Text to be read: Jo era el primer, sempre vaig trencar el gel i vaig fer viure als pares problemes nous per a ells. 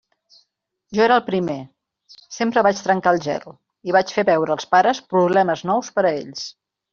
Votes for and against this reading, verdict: 1, 2, rejected